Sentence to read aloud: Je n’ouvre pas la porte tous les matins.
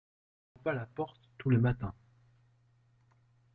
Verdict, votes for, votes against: rejected, 0, 2